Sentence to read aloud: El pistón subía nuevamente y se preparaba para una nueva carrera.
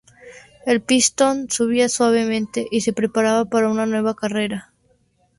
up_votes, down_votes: 0, 4